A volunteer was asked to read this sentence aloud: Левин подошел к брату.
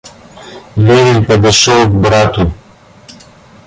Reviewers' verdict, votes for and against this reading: rejected, 1, 2